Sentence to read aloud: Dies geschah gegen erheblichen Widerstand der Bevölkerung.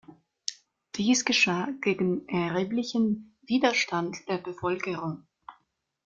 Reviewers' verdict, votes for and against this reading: accepted, 2, 0